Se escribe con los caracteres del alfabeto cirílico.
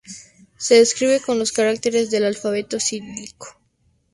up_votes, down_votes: 2, 0